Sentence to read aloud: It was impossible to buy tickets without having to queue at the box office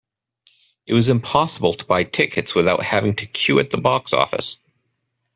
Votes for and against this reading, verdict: 2, 0, accepted